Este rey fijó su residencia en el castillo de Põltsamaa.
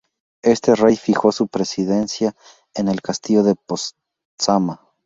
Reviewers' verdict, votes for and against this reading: rejected, 2, 4